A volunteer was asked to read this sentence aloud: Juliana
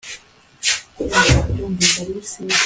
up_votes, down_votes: 0, 2